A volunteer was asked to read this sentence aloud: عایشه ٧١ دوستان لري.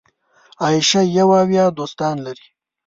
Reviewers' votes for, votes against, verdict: 0, 2, rejected